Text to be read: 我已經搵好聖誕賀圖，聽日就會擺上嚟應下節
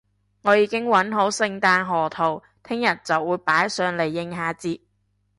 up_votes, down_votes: 3, 0